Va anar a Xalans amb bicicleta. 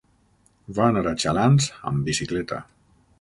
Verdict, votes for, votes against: rejected, 0, 6